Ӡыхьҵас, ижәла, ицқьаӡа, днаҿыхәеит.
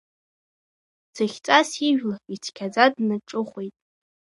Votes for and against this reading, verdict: 2, 0, accepted